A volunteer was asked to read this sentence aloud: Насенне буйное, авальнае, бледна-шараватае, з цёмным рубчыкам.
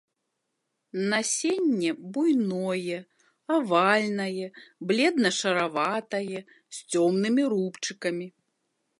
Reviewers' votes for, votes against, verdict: 0, 2, rejected